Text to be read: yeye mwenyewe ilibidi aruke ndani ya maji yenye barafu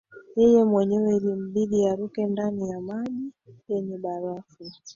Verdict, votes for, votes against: rejected, 1, 2